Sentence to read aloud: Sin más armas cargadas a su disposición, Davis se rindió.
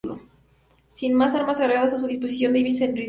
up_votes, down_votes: 0, 2